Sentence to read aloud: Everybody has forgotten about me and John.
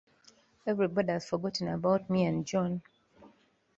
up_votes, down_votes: 2, 0